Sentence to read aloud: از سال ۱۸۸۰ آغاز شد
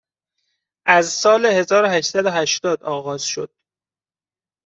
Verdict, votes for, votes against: rejected, 0, 2